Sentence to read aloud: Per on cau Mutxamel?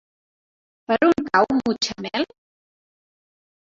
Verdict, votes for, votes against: accepted, 4, 0